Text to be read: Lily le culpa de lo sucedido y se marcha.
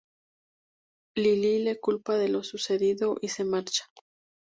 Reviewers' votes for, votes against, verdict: 2, 0, accepted